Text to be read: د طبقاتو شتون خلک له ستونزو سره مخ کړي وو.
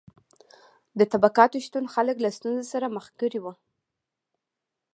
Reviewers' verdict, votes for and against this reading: accepted, 2, 0